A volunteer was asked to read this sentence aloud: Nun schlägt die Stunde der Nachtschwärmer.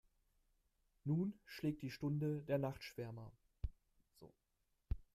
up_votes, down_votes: 1, 2